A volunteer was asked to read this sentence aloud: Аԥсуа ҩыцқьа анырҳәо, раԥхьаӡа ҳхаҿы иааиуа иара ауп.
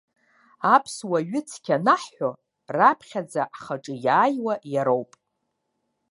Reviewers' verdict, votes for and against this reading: rejected, 1, 2